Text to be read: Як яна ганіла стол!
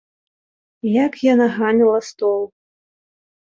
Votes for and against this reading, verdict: 2, 0, accepted